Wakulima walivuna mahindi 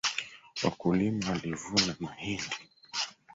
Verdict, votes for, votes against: rejected, 0, 3